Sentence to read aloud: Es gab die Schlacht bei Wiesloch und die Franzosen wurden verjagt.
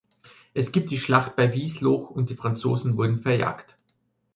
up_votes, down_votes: 0, 2